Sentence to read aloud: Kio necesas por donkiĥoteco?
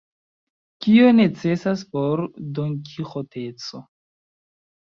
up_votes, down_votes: 3, 1